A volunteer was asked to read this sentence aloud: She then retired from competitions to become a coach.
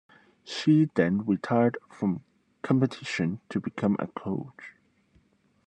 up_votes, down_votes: 2, 1